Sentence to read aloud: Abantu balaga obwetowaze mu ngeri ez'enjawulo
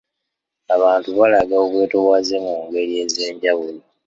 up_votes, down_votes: 2, 0